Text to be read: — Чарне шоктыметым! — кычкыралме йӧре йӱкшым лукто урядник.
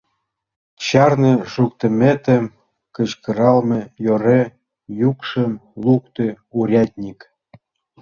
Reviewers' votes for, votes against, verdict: 2, 3, rejected